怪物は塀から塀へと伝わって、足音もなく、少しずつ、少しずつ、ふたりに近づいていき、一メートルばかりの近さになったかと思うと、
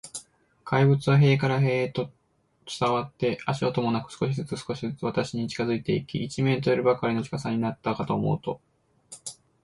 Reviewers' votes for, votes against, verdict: 1, 2, rejected